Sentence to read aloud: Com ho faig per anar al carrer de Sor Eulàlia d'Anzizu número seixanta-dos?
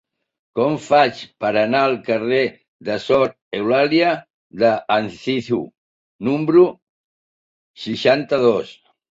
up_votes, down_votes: 0, 2